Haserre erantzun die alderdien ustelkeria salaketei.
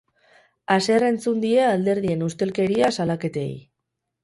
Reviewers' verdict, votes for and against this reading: rejected, 0, 4